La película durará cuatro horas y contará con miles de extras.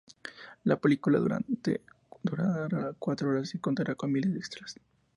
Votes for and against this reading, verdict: 0, 2, rejected